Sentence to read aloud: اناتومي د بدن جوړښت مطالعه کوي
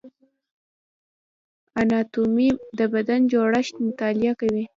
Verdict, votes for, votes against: accepted, 2, 1